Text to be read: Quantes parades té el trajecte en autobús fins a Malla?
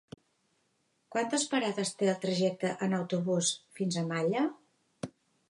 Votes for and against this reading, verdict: 2, 0, accepted